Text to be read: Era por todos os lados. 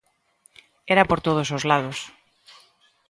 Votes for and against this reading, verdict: 2, 0, accepted